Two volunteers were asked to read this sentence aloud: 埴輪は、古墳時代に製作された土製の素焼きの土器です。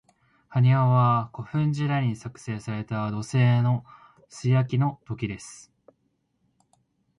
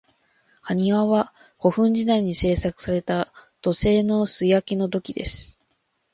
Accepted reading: second